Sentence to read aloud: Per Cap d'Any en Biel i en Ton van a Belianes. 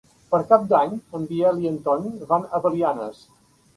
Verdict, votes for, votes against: accepted, 2, 0